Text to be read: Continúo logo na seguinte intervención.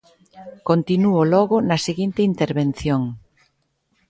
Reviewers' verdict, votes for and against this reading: accepted, 2, 0